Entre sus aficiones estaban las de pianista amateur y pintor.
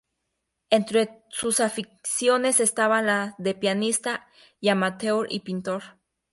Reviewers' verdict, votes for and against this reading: accepted, 2, 0